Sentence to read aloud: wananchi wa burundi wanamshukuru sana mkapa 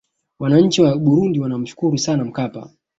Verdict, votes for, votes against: accepted, 2, 0